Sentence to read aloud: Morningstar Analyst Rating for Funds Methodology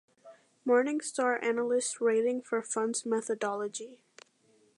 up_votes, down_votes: 2, 0